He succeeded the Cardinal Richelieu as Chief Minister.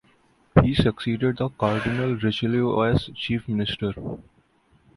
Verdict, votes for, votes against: accepted, 2, 0